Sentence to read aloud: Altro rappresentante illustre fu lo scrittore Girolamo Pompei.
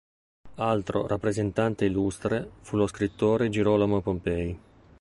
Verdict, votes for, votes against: accepted, 2, 0